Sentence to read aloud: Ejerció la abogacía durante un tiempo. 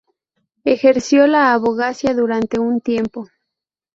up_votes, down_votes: 0, 2